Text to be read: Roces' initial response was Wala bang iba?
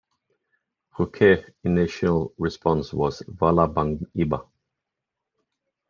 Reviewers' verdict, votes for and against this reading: rejected, 0, 2